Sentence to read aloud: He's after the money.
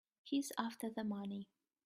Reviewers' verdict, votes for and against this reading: accepted, 3, 0